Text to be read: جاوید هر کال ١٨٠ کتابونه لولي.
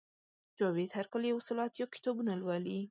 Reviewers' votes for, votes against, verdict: 0, 2, rejected